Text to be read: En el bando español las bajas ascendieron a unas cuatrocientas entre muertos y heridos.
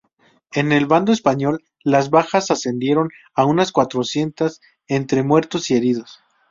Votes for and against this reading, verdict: 2, 0, accepted